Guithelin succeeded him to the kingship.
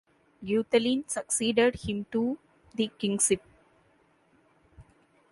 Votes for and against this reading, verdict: 1, 2, rejected